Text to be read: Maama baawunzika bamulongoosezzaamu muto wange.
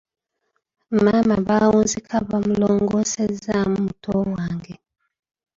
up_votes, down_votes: 0, 2